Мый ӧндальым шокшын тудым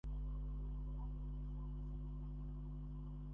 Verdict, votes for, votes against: rejected, 0, 2